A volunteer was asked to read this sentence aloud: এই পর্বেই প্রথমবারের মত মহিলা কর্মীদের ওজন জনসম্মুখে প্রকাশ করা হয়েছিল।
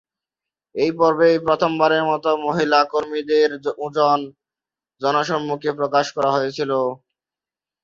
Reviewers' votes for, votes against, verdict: 0, 2, rejected